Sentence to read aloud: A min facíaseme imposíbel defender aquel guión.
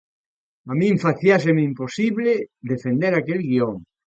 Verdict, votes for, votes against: rejected, 0, 2